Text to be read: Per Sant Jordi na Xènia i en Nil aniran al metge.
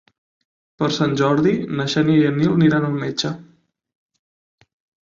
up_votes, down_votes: 9, 3